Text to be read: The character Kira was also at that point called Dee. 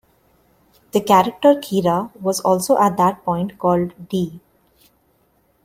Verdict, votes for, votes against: accepted, 2, 0